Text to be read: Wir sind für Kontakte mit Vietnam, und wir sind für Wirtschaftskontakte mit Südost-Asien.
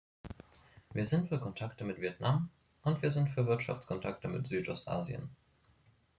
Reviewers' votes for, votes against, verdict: 2, 0, accepted